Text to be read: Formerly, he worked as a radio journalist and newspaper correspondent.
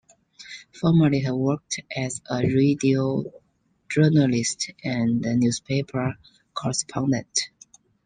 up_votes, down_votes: 0, 2